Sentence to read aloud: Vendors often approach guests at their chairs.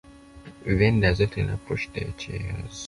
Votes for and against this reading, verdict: 0, 2, rejected